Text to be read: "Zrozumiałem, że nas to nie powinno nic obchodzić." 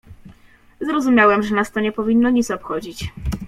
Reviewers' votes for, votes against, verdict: 2, 0, accepted